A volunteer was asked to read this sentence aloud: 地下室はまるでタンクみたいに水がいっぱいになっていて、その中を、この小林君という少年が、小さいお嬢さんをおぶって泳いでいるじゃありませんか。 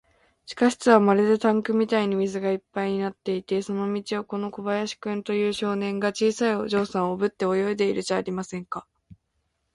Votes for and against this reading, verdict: 1, 2, rejected